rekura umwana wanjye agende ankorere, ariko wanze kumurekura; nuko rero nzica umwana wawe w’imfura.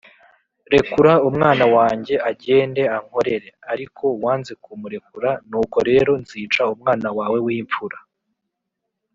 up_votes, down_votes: 4, 0